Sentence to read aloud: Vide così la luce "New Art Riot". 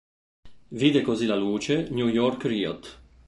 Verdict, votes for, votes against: rejected, 1, 2